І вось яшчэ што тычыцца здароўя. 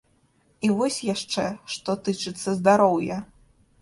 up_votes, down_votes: 2, 0